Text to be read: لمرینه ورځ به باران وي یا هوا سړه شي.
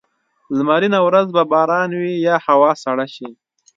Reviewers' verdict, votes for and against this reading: accepted, 3, 0